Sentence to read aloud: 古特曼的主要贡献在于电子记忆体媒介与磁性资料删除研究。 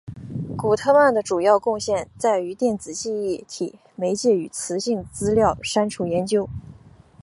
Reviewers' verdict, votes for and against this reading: accepted, 4, 0